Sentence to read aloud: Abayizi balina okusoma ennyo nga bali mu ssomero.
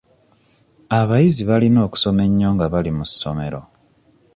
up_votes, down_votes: 2, 0